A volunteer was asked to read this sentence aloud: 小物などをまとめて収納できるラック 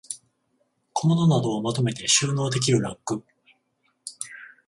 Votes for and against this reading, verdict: 7, 7, rejected